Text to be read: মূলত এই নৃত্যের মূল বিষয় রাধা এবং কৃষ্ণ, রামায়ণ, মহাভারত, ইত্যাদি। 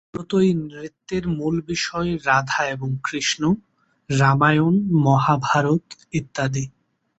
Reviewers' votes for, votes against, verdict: 1, 2, rejected